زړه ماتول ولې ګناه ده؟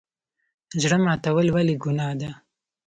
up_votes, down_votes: 2, 0